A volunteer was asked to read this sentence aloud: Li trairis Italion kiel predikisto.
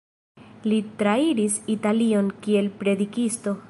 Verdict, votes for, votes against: accepted, 2, 0